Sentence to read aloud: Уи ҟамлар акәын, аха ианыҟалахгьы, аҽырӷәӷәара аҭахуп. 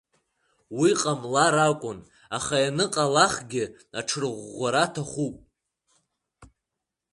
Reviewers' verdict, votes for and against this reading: rejected, 1, 2